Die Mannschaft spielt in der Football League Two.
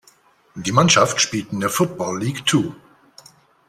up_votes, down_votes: 2, 0